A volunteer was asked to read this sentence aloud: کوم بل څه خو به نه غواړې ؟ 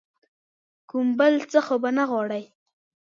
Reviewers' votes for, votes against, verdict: 0, 2, rejected